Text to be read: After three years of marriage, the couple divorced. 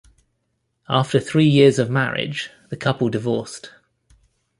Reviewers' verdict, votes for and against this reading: accepted, 2, 0